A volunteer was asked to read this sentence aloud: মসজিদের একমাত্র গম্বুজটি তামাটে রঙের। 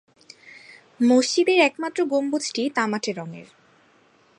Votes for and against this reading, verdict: 2, 0, accepted